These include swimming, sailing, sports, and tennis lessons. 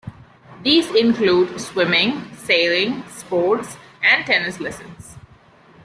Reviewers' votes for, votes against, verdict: 2, 0, accepted